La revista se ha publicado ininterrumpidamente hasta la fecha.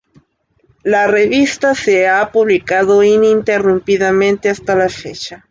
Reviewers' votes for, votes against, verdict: 2, 0, accepted